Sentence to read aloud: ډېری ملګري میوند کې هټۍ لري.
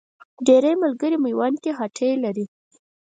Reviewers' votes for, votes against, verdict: 4, 0, accepted